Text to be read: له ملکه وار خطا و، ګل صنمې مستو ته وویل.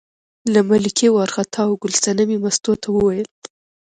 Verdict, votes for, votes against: accepted, 2, 0